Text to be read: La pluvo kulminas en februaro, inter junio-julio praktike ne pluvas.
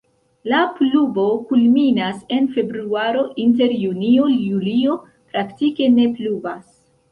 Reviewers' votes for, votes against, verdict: 2, 0, accepted